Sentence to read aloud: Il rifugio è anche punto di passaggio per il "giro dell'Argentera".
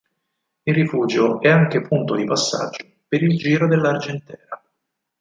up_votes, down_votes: 4, 6